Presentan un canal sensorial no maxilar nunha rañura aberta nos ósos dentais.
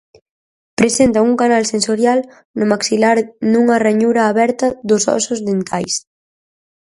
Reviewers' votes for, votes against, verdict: 0, 4, rejected